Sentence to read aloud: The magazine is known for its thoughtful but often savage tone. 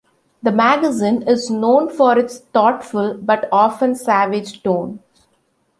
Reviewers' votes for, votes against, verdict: 2, 0, accepted